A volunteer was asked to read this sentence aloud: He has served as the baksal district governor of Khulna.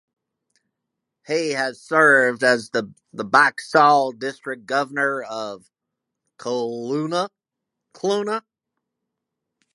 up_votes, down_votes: 0, 2